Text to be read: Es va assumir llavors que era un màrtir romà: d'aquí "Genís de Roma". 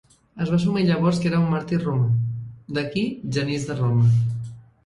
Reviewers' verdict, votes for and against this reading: rejected, 0, 2